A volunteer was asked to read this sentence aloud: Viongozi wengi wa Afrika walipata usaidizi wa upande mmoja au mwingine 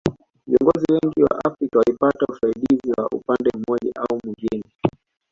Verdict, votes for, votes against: rejected, 0, 2